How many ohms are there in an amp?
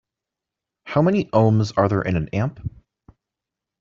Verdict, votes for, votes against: accepted, 2, 0